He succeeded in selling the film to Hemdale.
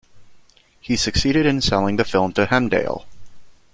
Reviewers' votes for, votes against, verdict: 2, 0, accepted